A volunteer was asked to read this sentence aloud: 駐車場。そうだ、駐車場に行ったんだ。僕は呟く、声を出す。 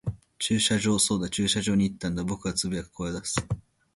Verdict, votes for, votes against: accepted, 2, 0